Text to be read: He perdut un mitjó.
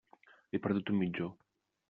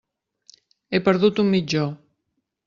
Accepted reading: second